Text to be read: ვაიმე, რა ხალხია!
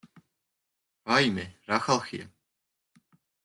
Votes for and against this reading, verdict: 2, 0, accepted